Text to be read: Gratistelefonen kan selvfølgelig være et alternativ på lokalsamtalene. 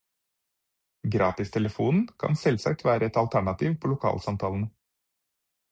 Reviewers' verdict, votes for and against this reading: rejected, 2, 4